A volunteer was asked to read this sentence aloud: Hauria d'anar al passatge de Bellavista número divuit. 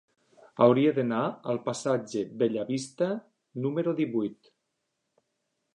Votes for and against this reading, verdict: 1, 2, rejected